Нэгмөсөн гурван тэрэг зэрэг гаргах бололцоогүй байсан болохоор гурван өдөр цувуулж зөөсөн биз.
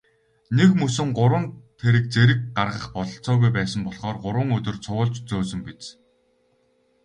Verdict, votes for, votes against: accepted, 6, 0